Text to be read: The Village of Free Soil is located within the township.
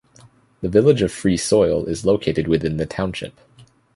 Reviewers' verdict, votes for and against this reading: accepted, 2, 0